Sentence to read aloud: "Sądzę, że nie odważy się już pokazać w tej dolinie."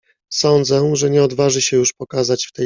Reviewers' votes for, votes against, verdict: 0, 2, rejected